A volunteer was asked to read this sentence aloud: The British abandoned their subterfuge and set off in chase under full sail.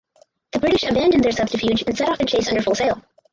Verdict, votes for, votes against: rejected, 0, 4